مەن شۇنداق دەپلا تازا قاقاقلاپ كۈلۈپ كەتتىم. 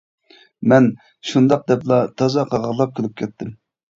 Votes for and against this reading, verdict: 0, 2, rejected